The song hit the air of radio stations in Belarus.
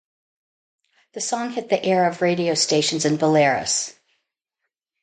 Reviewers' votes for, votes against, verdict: 0, 2, rejected